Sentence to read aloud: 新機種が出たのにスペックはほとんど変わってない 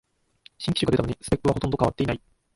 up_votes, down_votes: 1, 2